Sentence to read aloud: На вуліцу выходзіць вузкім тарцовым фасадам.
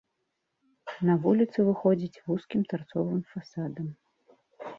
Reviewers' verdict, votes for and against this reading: accepted, 2, 1